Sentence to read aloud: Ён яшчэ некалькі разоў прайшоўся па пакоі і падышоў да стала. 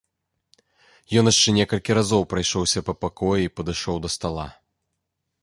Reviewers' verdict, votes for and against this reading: accepted, 2, 0